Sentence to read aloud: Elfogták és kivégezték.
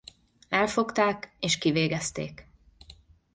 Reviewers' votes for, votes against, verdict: 2, 0, accepted